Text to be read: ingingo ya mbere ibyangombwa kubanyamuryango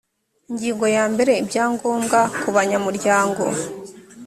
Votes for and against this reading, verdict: 3, 0, accepted